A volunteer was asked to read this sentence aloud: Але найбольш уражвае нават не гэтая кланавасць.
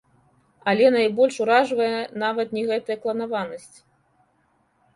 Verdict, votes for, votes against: rejected, 0, 2